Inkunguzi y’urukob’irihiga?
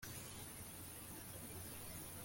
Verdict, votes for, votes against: rejected, 0, 2